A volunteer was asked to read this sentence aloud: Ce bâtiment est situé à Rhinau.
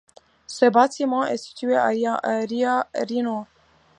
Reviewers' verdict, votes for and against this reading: rejected, 1, 2